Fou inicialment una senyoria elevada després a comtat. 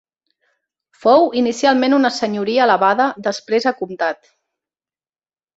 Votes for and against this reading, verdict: 2, 0, accepted